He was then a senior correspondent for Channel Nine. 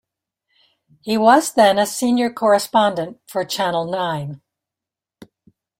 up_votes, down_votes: 2, 0